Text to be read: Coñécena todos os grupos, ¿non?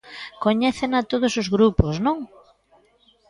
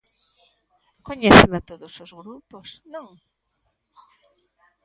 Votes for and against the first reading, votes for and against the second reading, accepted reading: 2, 0, 1, 2, first